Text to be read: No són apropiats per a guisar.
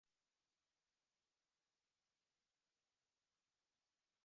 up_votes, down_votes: 1, 2